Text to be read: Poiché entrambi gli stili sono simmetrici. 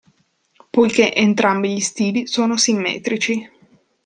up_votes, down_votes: 2, 0